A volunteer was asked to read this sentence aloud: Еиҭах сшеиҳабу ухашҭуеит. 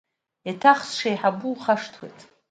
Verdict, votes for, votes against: accepted, 2, 0